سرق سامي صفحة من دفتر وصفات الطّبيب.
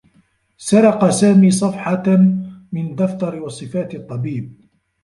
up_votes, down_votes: 0, 2